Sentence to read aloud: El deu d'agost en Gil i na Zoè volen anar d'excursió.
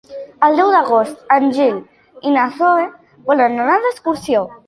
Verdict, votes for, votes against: accepted, 2, 0